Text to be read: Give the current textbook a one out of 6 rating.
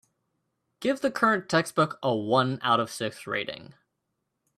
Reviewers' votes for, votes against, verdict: 0, 2, rejected